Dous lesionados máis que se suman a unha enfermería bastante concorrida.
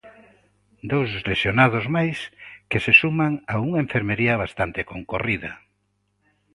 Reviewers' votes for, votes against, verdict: 2, 0, accepted